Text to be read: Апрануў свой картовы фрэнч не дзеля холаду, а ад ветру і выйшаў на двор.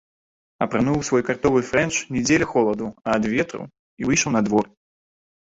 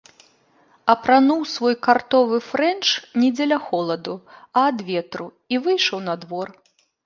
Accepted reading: second